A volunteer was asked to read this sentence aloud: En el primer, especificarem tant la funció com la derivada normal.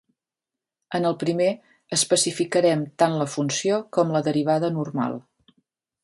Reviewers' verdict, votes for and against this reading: accepted, 2, 0